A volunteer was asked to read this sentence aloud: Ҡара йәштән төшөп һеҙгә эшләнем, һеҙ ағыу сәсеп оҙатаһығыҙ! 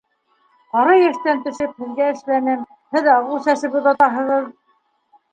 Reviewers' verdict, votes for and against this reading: rejected, 1, 2